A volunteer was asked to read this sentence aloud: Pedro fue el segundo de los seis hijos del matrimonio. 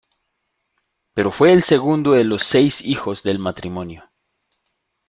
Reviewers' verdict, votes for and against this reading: rejected, 0, 2